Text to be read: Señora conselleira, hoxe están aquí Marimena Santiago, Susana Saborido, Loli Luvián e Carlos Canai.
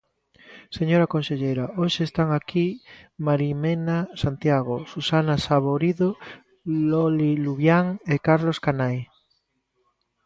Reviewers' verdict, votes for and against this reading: accepted, 2, 0